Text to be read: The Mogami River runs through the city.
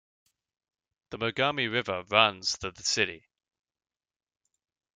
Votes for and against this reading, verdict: 3, 2, accepted